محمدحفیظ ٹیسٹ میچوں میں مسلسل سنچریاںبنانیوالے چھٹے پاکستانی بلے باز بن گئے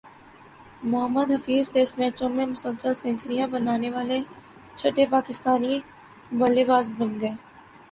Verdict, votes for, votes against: rejected, 1, 2